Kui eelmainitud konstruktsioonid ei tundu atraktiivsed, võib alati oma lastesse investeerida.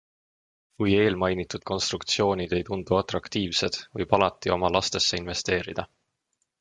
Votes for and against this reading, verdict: 2, 0, accepted